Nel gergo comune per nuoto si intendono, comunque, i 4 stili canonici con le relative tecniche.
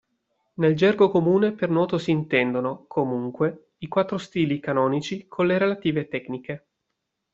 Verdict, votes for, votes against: rejected, 0, 2